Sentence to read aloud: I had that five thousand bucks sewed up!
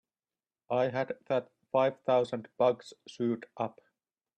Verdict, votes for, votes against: rejected, 1, 3